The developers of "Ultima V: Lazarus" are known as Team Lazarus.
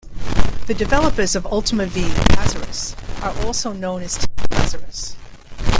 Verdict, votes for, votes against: rejected, 0, 2